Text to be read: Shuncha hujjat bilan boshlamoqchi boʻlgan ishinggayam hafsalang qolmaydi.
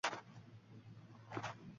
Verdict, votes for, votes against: rejected, 0, 2